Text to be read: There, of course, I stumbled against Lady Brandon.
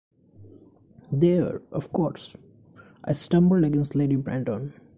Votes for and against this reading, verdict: 2, 0, accepted